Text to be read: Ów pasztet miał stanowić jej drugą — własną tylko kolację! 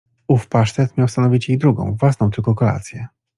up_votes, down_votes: 2, 0